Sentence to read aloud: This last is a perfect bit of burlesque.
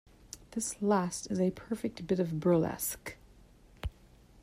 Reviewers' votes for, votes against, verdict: 2, 0, accepted